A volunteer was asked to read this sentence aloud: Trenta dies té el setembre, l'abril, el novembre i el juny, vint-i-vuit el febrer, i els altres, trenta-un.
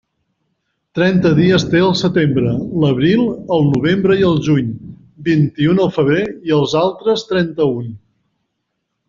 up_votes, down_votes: 0, 2